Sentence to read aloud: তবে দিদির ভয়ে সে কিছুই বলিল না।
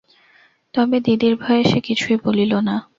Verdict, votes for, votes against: accepted, 2, 0